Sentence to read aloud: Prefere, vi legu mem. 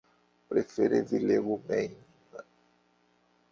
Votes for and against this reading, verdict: 2, 1, accepted